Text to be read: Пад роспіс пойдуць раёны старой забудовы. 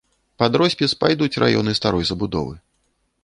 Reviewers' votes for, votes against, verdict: 1, 2, rejected